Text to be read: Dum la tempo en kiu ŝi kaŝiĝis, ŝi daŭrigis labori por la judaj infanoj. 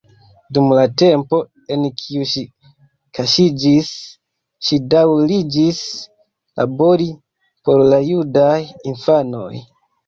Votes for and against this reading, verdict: 1, 2, rejected